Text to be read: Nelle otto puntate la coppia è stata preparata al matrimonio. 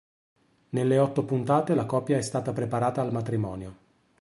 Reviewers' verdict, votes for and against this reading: accepted, 3, 0